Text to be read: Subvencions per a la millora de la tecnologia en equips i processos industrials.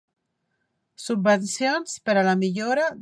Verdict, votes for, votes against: rejected, 0, 2